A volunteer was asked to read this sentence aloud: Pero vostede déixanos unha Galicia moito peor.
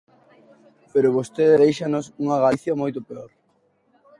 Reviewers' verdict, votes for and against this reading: accepted, 2, 0